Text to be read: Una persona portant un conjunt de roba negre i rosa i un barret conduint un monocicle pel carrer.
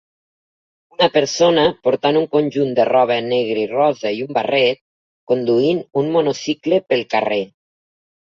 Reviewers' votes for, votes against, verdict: 2, 1, accepted